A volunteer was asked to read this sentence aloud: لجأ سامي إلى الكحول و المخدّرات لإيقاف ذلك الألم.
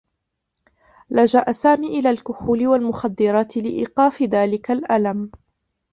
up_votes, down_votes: 0, 2